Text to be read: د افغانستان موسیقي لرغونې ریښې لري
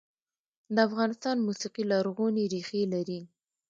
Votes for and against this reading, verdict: 1, 2, rejected